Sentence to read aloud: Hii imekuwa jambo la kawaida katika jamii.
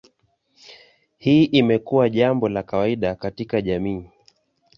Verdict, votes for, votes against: accepted, 2, 0